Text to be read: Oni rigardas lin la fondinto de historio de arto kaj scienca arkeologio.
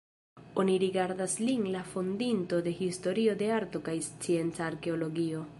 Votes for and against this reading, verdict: 1, 2, rejected